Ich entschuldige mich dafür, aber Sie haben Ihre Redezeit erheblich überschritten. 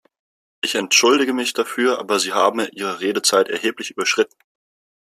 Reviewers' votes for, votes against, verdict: 1, 2, rejected